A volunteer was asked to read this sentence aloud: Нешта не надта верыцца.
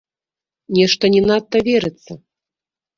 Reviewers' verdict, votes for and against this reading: rejected, 0, 2